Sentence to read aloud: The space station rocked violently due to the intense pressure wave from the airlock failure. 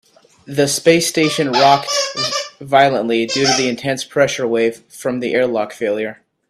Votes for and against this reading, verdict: 2, 0, accepted